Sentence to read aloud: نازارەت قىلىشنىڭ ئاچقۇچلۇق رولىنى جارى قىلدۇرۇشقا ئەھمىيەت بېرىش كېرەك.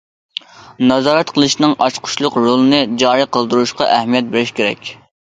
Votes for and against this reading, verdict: 3, 0, accepted